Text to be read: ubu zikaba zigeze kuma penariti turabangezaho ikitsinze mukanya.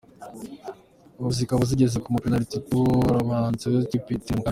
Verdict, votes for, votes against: rejected, 0, 2